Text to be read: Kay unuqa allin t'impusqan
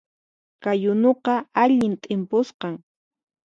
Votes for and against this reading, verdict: 4, 0, accepted